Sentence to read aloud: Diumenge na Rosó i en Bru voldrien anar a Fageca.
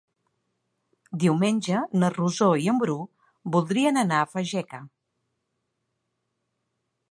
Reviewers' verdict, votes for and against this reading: accepted, 3, 0